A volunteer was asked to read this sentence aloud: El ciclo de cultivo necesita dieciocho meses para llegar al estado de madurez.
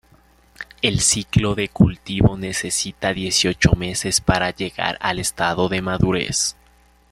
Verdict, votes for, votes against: accepted, 2, 0